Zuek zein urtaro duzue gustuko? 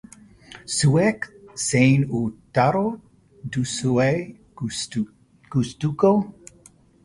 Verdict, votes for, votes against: rejected, 1, 2